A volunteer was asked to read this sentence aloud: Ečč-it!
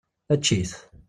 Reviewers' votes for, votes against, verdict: 2, 0, accepted